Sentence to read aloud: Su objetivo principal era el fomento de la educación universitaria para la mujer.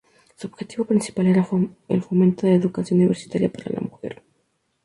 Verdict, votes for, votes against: rejected, 0, 2